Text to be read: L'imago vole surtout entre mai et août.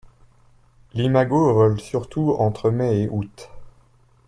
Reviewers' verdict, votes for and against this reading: accepted, 2, 1